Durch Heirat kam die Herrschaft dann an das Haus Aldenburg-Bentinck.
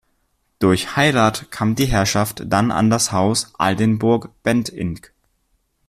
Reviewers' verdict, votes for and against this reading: accepted, 2, 1